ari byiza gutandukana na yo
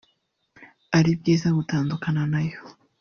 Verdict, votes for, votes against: rejected, 1, 2